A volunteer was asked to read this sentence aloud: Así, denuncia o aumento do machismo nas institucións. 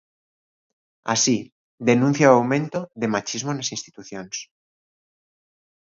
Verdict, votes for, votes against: rejected, 0, 2